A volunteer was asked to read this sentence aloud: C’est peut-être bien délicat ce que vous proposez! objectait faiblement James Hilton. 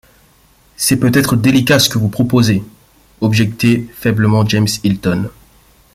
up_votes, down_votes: 1, 2